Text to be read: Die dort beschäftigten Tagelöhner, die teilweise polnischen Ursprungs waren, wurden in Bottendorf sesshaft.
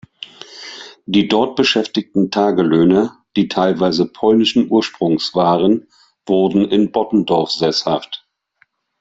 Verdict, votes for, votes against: accepted, 2, 0